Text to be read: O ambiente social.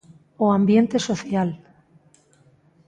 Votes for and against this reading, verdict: 2, 0, accepted